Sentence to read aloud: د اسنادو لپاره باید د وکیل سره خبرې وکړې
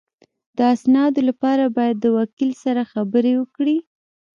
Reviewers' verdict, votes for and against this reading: rejected, 1, 2